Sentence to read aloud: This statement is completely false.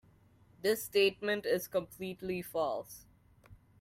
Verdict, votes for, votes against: accepted, 2, 0